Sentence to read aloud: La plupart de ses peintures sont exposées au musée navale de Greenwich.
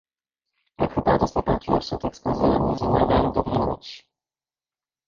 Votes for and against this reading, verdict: 0, 2, rejected